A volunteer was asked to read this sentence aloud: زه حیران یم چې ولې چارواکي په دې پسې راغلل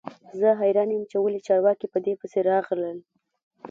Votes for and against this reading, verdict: 1, 2, rejected